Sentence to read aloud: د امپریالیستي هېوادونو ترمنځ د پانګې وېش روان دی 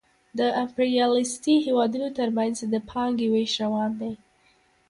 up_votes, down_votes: 1, 2